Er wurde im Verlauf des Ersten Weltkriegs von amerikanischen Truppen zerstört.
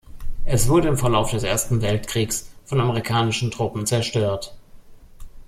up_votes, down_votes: 1, 2